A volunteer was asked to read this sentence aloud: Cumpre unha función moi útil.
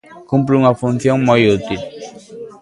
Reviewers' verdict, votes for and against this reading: rejected, 0, 2